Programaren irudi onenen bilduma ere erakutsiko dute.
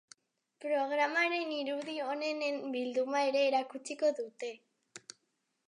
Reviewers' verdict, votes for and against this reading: accepted, 3, 0